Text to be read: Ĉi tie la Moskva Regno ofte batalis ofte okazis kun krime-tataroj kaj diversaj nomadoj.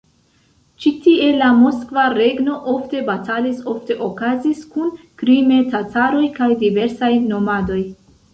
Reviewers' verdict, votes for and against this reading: accepted, 2, 0